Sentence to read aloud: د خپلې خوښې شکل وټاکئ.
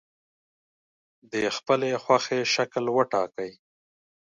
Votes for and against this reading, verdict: 2, 0, accepted